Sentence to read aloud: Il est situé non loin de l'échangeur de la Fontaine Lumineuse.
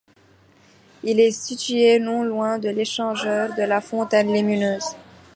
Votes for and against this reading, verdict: 2, 0, accepted